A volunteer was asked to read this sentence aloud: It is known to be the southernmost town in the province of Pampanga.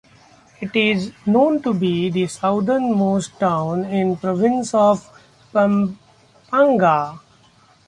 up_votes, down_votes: 0, 2